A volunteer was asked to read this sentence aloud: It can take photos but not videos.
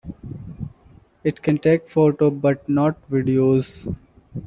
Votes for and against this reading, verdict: 0, 2, rejected